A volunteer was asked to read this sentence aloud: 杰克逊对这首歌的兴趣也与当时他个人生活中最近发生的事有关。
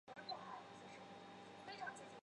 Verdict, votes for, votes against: rejected, 0, 3